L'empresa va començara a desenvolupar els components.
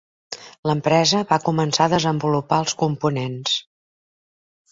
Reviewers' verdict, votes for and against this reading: accepted, 2, 1